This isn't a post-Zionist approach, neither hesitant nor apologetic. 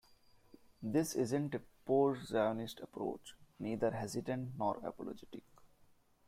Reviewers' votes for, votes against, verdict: 2, 1, accepted